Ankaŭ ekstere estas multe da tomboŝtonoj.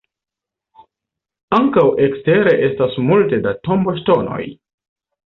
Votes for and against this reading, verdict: 2, 0, accepted